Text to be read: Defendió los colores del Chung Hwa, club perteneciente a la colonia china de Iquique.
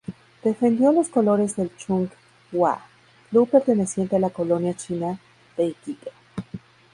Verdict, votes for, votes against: rejected, 0, 2